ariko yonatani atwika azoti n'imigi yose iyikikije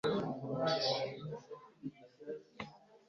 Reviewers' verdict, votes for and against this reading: rejected, 2, 3